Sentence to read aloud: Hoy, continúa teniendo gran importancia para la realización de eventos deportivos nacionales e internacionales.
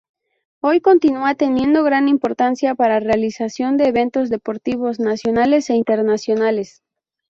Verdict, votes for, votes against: rejected, 0, 2